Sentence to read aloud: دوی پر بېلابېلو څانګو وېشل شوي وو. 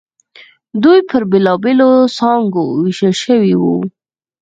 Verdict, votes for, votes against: accepted, 4, 0